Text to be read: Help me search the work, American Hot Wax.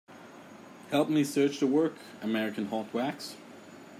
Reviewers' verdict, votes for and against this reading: accepted, 2, 0